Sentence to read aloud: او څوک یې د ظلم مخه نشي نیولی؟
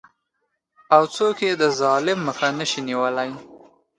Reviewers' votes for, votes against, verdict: 1, 2, rejected